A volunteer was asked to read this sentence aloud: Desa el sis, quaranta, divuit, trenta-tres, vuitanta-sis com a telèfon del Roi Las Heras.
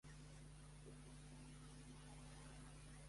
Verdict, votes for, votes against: rejected, 0, 2